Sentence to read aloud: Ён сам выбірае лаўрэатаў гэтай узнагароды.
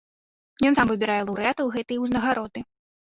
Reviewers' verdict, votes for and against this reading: rejected, 0, 2